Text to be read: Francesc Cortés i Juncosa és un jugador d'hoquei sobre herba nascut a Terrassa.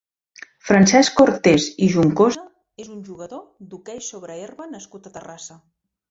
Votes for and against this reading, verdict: 1, 2, rejected